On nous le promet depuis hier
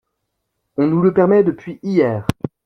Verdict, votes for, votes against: rejected, 1, 2